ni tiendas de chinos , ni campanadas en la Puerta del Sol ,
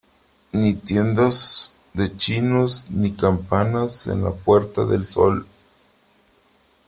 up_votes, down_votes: 0, 3